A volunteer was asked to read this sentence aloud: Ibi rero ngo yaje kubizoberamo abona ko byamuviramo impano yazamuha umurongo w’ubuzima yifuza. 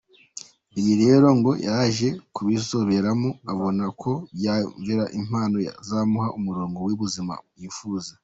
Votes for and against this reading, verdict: 1, 2, rejected